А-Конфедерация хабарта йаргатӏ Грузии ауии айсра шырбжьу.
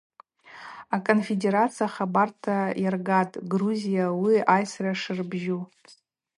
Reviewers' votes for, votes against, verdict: 4, 0, accepted